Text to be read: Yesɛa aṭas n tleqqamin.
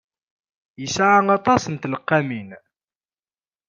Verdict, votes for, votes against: accepted, 2, 0